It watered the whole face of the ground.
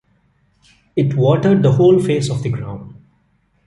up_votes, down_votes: 2, 0